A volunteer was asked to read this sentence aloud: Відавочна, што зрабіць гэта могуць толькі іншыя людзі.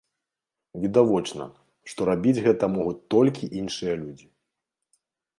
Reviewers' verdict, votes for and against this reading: rejected, 1, 2